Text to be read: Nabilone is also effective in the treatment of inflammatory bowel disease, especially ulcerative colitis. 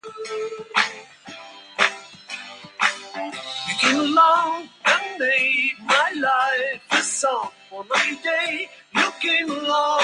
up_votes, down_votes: 0, 2